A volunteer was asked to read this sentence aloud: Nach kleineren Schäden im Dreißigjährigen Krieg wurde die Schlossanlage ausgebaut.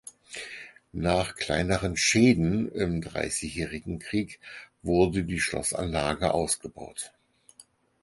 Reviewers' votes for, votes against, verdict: 4, 0, accepted